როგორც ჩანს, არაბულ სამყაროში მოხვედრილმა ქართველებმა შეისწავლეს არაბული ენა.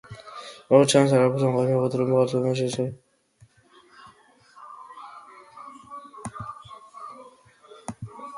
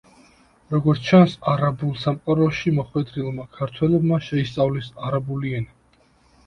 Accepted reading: second